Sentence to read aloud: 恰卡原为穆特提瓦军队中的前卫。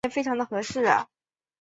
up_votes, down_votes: 0, 2